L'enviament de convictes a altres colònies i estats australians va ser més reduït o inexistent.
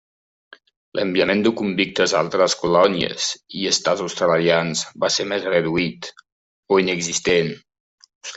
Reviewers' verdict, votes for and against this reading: accepted, 2, 1